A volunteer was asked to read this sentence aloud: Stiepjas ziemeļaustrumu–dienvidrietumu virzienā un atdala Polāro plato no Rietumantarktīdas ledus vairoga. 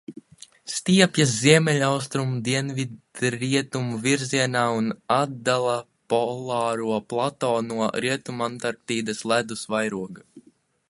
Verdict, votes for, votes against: rejected, 0, 2